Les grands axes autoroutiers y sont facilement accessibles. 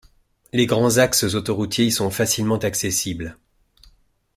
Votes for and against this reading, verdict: 2, 0, accepted